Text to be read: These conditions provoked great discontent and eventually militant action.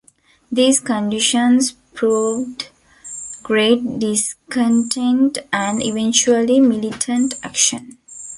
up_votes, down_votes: 1, 2